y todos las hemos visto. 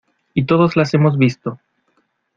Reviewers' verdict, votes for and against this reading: accepted, 2, 0